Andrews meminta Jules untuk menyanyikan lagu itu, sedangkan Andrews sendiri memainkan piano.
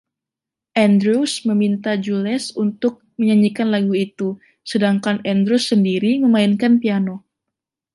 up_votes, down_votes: 2, 0